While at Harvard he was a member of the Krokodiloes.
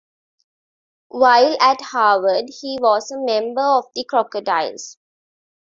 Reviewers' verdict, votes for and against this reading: accepted, 2, 1